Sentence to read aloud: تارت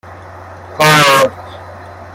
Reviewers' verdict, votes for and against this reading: accepted, 2, 0